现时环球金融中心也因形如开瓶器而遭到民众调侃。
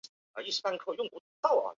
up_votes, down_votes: 2, 4